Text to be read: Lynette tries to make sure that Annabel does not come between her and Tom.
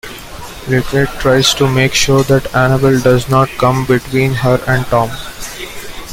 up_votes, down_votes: 2, 0